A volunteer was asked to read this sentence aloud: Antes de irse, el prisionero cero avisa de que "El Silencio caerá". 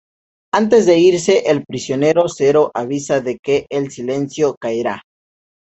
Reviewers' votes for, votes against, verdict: 2, 0, accepted